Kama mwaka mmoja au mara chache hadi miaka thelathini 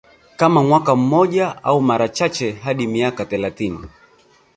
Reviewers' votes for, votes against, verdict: 3, 1, accepted